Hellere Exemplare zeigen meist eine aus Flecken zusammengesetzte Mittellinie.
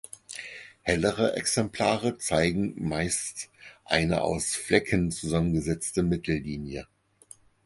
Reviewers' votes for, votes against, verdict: 4, 0, accepted